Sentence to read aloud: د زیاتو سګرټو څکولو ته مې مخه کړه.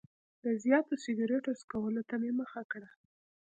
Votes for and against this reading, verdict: 2, 0, accepted